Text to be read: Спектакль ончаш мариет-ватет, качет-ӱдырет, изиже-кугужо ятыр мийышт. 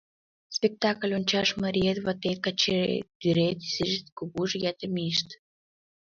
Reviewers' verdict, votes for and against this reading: rejected, 1, 2